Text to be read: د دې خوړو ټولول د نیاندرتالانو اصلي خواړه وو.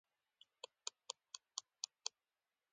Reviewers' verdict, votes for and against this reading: rejected, 0, 2